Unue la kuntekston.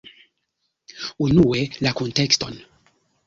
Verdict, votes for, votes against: rejected, 0, 2